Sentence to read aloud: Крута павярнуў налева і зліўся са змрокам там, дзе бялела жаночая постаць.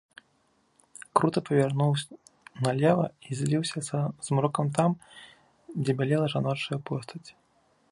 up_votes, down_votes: 0, 3